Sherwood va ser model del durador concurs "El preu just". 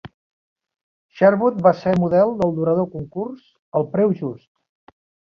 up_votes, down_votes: 3, 0